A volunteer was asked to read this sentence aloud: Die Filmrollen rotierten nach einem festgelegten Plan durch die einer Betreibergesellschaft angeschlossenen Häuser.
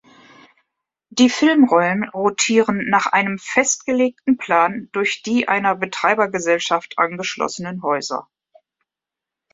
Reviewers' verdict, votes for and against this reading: rejected, 1, 2